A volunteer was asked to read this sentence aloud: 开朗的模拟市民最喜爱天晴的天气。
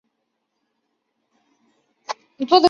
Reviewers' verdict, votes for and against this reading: rejected, 1, 3